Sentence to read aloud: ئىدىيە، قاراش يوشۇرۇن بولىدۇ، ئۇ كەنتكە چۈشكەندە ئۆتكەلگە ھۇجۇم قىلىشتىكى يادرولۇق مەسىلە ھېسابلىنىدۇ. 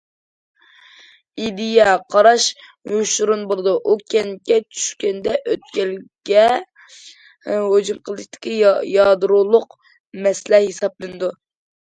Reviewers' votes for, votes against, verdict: 1, 2, rejected